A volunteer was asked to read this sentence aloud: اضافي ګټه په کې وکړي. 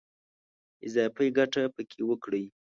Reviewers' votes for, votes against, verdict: 2, 0, accepted